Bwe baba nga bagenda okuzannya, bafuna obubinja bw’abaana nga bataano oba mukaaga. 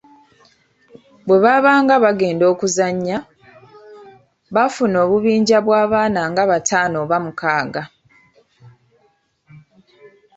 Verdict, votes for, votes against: rejected, 0, 2